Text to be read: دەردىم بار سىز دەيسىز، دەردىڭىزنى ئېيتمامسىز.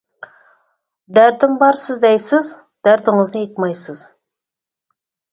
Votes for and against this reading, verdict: 0, 4, rejected